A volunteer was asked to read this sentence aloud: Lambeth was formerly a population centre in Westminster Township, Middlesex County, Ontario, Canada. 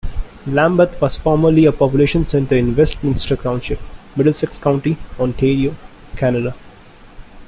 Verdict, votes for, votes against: accepted, 2, 0